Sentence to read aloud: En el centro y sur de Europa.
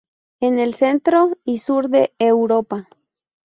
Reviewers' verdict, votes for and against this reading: rejected, 2, 2